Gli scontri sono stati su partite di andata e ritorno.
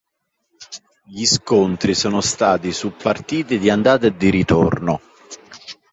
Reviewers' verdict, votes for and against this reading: accepted, 2, 0